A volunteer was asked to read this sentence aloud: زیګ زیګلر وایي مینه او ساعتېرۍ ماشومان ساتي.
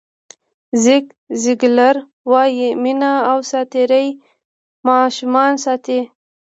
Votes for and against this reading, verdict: 1, 2, rejected